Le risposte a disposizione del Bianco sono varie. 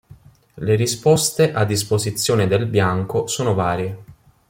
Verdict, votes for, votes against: accepted, 2, 0